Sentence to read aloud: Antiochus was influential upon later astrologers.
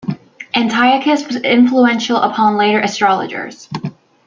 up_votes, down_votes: 2, 0